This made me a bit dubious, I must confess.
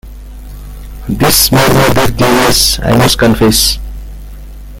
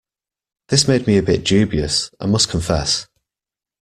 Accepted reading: second